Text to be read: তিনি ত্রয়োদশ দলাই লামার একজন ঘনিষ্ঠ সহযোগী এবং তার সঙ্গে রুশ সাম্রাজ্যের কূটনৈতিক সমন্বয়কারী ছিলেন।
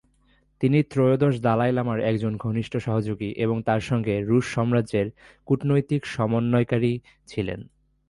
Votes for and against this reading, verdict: 1, 2, rejected